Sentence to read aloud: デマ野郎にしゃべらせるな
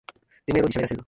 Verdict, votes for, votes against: rejected, 0, 2